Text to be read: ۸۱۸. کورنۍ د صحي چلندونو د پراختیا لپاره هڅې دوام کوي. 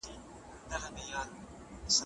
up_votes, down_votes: 0, 2